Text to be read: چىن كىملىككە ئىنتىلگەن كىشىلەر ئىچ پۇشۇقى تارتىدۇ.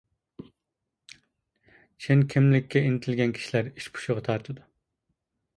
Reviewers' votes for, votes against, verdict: 0, 2, rejected